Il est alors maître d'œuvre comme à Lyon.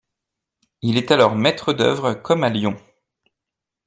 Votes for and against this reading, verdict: 2, 0, accepted